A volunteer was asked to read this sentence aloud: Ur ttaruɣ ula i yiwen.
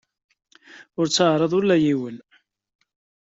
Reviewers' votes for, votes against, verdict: 1, 2, rejected